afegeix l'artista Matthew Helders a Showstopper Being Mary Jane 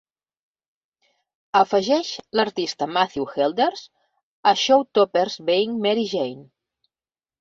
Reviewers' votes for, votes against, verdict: 2, 0, accepted